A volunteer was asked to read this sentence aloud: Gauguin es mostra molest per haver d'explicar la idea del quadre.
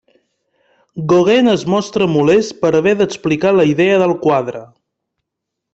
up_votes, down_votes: 2, 0